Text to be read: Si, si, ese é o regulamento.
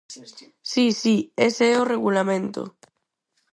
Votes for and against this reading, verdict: 2, 2, rejected